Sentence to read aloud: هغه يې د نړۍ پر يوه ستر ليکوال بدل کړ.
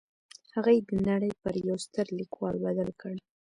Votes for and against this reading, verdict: 2, 0, accepted